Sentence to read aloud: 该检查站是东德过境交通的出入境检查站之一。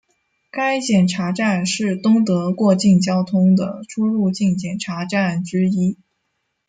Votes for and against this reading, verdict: 1, 2, rejected